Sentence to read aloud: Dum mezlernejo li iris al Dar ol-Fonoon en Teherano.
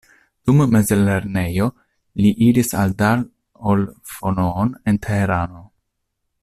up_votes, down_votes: 1, 2